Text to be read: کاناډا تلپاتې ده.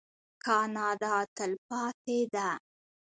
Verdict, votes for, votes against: rejected, 0, 2